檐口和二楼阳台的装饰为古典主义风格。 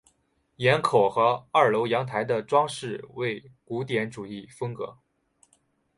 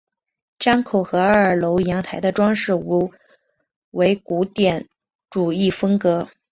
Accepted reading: first